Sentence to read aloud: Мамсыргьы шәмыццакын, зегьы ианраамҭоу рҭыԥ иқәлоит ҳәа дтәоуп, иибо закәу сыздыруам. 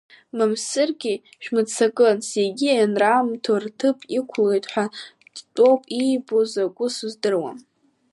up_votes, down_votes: 3, 1